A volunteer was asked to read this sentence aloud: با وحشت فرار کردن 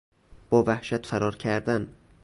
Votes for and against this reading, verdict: 2, 0, accepted